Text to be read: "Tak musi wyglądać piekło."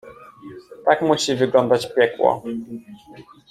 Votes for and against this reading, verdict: 2, 0, accepted